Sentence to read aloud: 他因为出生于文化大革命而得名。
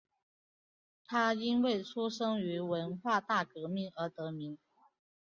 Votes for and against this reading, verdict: 0, 2, rejected